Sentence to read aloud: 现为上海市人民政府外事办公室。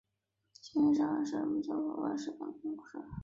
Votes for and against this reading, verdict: 0, 4, rejected